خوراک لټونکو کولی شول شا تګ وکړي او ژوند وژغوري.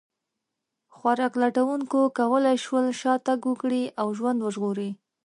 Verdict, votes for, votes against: accepted, 2, 0